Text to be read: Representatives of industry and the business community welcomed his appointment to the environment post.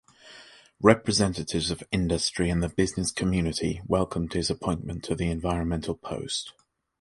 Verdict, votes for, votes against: rejected, 0, 2